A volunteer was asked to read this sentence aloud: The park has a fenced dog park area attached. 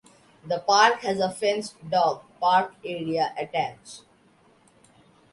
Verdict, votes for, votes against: accepted, 2, 0